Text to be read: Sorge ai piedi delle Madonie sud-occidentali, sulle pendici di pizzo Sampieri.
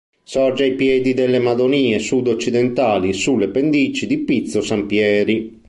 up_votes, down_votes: 2, 0